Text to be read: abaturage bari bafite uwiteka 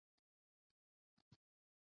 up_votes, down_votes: 0, 2